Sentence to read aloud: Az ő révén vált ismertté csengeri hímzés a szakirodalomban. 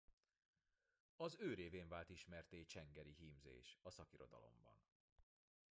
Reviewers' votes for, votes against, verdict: 2, 0, accepted